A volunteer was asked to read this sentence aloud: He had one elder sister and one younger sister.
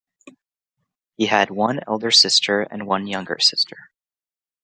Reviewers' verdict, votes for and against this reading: accepted, 2, 0